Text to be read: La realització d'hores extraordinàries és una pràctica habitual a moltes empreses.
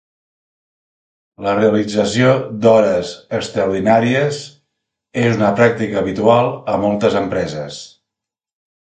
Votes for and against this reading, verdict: 2, 0, accepted